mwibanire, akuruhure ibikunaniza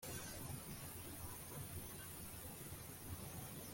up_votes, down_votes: 0, 2